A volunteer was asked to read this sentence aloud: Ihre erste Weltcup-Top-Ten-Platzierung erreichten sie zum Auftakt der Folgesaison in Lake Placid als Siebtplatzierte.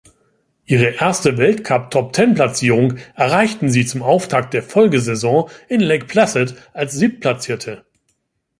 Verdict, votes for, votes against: accepted, 2, 0